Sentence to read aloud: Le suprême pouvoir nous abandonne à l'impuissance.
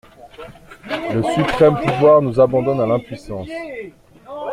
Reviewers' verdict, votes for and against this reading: accepted, 2, 1